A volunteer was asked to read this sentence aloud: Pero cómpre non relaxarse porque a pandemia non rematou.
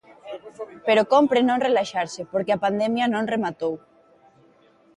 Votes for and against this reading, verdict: 4, 0, accepted